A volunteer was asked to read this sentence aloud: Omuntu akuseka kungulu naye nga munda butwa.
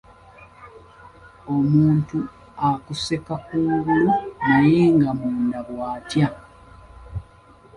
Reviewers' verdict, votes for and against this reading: rejected, 2, 4